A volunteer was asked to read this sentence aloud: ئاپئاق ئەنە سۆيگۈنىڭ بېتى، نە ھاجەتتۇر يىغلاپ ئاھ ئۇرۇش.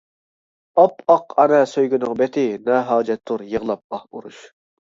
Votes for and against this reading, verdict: 0, 2, rejected